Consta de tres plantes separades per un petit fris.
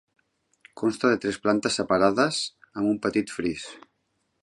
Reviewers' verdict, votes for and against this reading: rejected, 1, 2